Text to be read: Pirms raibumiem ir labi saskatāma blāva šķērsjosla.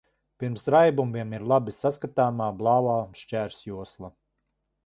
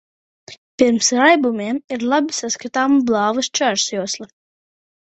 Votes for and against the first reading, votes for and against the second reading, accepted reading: 1, 2, 2, 0, second